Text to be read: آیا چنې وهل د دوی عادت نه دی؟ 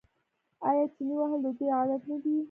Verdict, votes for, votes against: rejected, 1, 2